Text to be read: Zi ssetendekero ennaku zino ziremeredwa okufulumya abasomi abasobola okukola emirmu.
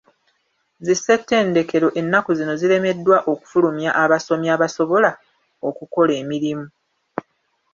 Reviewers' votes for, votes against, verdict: 2, 1, accepted